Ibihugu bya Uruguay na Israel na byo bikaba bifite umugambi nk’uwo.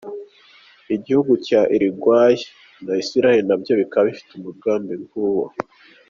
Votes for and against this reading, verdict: 0, 2, rejected